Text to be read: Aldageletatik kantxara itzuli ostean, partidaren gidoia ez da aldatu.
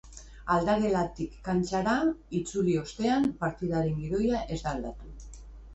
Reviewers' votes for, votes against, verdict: 0, 2, rejected